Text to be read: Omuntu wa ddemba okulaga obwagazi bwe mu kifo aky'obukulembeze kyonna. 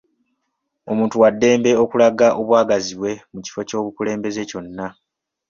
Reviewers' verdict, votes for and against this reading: accepted, 2, 1